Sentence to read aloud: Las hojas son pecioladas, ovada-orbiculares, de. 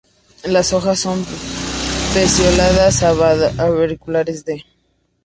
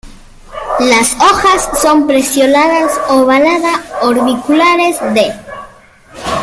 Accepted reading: first